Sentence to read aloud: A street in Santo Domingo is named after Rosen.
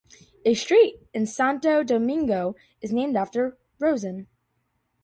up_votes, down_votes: 2, 0